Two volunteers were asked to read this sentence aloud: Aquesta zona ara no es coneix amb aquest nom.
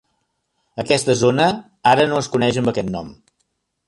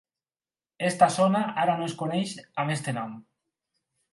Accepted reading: first